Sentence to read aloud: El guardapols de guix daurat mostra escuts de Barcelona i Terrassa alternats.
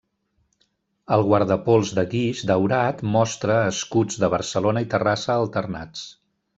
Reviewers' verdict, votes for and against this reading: accepted, 3, 0